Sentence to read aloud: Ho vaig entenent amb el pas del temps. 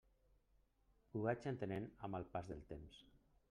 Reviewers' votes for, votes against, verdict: 3, 0, accepted